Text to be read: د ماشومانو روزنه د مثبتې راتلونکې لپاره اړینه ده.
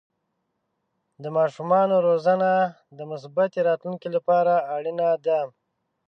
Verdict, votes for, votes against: accepted, 3, 0